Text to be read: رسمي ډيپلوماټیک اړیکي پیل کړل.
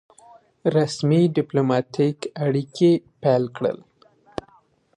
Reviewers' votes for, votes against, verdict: 2, 0, accepted